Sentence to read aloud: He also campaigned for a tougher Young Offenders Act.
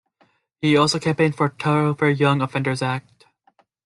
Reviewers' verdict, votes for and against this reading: rejected, 0, 2